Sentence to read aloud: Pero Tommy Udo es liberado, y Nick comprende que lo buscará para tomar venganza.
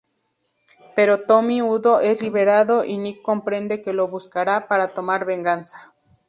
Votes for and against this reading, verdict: 2, 0, accepted